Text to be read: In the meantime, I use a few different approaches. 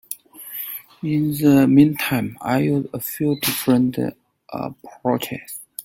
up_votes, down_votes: 0, 2